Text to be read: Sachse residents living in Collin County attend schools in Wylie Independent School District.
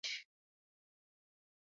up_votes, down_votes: 0, 2